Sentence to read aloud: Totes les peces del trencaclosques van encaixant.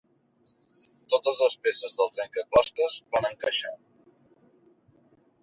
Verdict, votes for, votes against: rejected, 2, 4